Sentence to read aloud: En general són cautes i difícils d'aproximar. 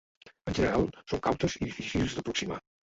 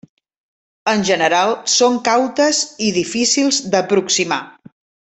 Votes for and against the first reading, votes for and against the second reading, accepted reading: 0, 2, 3, 0, second